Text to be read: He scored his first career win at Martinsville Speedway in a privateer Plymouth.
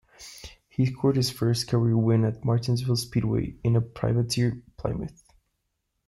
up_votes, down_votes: 0, 2